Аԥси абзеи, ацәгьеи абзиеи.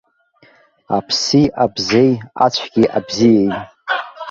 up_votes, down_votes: 0, 2